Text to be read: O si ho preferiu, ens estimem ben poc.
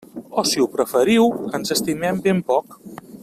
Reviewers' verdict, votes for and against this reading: accepted, 3, 0